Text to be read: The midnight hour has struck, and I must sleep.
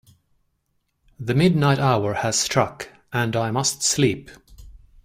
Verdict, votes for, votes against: accepted, 2, 0